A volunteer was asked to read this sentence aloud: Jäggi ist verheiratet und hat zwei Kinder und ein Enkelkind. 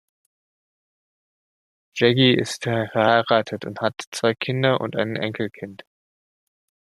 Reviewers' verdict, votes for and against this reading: rejected, 1, 2